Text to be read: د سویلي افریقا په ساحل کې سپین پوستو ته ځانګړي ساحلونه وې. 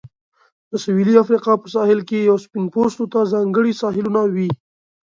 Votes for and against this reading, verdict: 2, 0, accepted